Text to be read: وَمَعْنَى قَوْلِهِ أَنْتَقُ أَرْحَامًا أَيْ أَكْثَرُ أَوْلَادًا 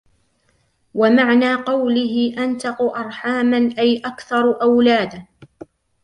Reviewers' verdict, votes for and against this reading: accepted, 2, 0